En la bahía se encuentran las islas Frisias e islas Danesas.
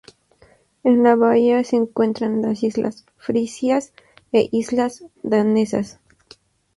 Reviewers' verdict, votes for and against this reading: accepted, 2, 0